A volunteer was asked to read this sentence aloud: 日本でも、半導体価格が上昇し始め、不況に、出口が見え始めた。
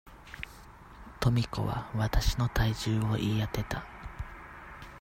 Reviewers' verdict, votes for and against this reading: rejected, 0, 2